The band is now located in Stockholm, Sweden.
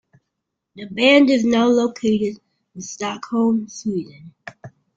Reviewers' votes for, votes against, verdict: 2, 0, accepted